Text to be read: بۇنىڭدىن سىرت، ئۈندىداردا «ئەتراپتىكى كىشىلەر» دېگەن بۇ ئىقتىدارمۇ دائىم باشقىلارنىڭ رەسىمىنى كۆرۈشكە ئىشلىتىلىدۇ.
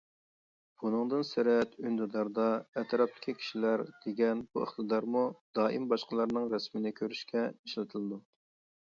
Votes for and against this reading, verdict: 2, 0, accepted